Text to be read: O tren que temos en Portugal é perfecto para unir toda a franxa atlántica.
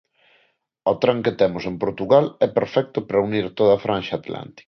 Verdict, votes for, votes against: rejected, 1, 3